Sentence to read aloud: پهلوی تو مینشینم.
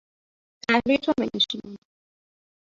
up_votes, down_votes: 1, 2